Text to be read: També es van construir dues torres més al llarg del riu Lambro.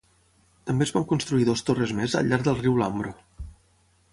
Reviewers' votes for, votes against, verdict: 0, 6, rejected